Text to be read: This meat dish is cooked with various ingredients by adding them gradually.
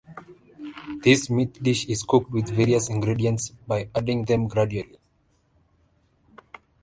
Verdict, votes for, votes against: accepted, 2, 0